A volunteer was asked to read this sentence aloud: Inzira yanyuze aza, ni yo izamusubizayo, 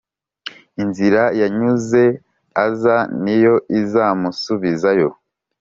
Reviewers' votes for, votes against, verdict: 3, 0, accepted